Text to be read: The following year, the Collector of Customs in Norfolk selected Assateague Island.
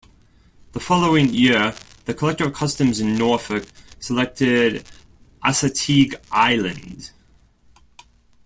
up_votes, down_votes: 2, 0